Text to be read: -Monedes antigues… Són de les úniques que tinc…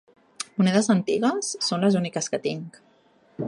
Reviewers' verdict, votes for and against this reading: accepted, 2, 0